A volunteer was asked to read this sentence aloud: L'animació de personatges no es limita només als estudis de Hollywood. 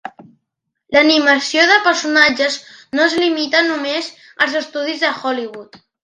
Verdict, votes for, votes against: accepted, 3, 0